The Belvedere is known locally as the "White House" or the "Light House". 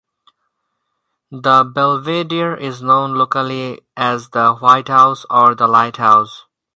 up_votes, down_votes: 4, 0